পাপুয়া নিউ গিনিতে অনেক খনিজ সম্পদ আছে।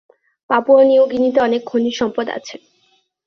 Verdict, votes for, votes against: accepted, 2, 0